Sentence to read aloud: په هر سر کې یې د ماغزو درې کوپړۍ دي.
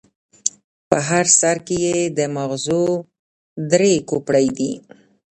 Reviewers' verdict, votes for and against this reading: rejected, 1, 2